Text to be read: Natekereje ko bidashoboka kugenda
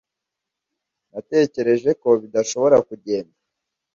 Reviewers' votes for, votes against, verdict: 1, 2, rejected